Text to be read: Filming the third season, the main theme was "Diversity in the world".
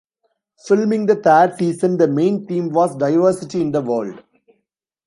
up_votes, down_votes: 1, 2